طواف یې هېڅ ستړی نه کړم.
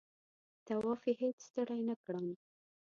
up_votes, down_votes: 2, 0